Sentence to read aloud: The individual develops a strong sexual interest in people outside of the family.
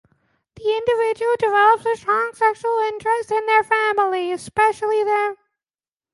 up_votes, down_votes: 0, 2